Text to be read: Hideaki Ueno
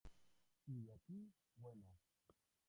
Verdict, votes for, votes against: rejected, 0, 2